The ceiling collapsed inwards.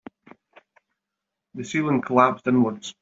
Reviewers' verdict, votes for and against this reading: accepted, 3, 0